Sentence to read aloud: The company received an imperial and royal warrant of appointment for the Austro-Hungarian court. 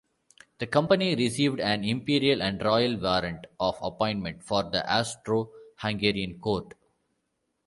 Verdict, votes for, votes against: accepted, 2, 0